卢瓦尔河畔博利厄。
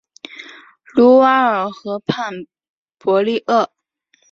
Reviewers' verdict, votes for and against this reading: accepted, 5, 0